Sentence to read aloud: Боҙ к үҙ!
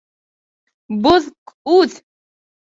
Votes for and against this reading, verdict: 2, 0, accepted